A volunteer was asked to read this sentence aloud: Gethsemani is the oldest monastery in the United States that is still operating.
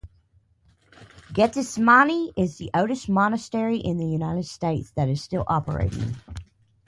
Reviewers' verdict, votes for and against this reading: accepted, 4, 2